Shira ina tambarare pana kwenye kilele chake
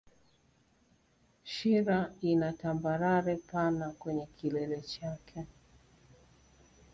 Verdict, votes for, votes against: accepted, 2, 0